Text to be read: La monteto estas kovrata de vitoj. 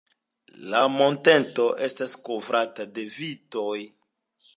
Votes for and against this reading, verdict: 2, 0, accepted